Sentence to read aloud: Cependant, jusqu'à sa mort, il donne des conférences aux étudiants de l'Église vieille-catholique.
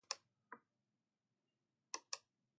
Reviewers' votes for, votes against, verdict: 1, 2, rejected